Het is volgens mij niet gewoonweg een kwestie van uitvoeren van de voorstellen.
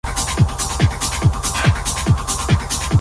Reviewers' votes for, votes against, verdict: 0, 2, rejected